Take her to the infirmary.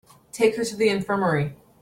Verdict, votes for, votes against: accepted, 3, 0